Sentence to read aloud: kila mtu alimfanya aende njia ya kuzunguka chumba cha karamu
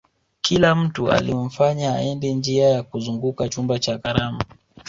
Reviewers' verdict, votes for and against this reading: accepted, 5, 1